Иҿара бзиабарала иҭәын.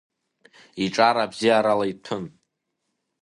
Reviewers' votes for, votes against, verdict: 1, 2, rejected